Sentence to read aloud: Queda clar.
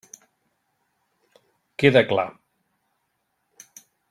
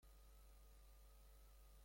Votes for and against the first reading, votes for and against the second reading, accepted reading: 3, 0, 0, 3, first